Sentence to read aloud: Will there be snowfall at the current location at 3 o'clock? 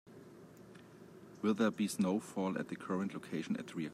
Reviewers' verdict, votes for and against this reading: rejected, 0, 2